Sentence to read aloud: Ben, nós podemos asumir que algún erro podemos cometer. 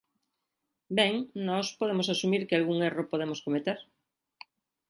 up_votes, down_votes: 3, 0